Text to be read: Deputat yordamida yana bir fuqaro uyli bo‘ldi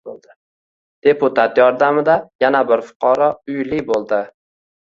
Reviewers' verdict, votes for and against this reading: rejected, 1, 2